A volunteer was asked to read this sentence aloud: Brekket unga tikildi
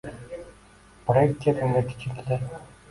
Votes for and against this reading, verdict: 1, 2, rejected